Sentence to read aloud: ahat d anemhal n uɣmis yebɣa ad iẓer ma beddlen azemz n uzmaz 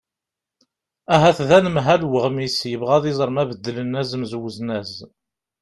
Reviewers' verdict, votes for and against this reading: accepted, 2, 0